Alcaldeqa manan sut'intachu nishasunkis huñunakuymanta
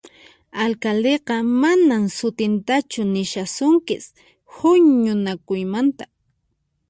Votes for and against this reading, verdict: 4, 2, accepted